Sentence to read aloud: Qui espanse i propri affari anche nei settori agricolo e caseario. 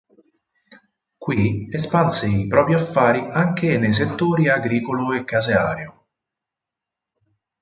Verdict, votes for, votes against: accepted, 6, 0